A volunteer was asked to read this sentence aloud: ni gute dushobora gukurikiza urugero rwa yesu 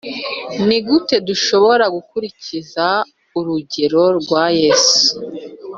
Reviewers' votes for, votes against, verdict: 2, 0, accepted